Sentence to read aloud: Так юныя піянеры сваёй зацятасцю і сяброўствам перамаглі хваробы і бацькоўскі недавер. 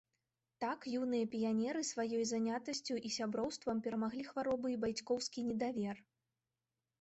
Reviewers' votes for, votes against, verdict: 0, 2, rejected